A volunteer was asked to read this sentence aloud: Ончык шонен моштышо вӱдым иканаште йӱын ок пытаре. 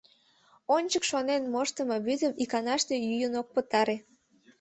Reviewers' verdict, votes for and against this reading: rejected, 0, 2